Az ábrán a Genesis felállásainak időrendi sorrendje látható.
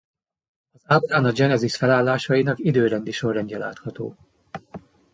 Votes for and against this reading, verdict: 0, 2, rejected